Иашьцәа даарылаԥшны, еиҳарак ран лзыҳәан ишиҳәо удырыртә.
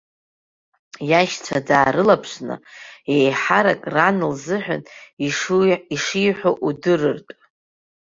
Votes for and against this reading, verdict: 1, 2, rejected